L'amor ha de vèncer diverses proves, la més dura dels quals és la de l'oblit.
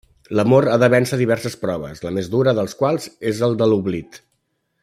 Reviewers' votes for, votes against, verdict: 1, 2, rejected